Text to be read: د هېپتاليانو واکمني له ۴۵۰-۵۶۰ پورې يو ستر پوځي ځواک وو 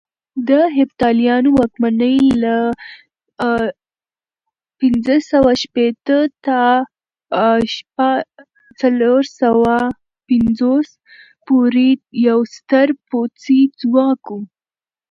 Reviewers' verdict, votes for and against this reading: rejected, 0, 2